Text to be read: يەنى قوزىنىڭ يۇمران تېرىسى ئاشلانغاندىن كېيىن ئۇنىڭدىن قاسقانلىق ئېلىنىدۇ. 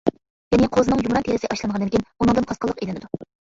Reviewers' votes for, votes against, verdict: 0, 2, rejected